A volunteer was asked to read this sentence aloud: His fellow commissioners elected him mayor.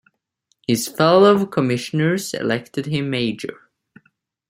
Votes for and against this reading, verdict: 1, 2, rejected